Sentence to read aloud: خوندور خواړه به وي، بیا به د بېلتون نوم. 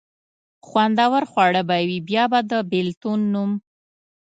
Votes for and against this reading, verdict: 0, 2, rejected